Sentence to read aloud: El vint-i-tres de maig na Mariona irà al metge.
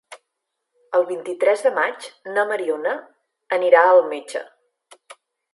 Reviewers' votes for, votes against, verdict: 1, 2, rejected